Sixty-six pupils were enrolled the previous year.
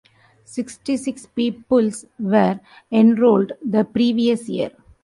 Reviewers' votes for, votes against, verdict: 0, 3, rejected